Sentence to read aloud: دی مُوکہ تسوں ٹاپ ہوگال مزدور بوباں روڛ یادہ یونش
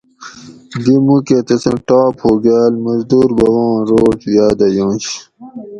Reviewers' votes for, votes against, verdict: 2, 0, accepted